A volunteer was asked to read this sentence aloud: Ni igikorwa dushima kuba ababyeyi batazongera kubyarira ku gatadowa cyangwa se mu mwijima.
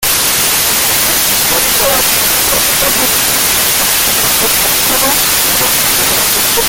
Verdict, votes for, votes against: rejected, 0, 2